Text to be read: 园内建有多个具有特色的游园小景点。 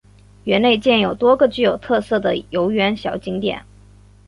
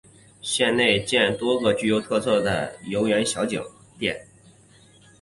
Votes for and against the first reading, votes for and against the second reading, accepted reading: 2, 1, 2, 5, first